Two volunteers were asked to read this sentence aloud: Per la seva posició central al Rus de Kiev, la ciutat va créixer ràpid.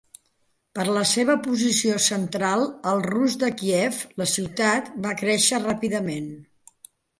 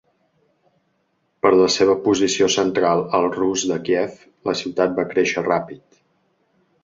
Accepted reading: second